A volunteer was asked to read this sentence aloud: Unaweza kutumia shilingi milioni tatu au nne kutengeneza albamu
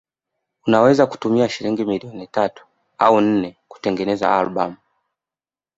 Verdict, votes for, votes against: rejected, 1, 2